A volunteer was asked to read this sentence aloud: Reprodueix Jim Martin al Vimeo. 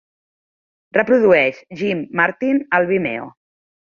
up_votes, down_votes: 3, 0